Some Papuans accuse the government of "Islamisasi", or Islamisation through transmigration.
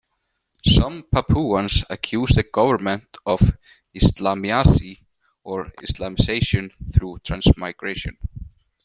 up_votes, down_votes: 2, 1